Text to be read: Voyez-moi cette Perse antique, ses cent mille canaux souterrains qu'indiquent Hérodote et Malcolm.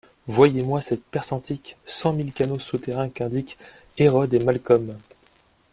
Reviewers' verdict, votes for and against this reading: rejected, 1, 2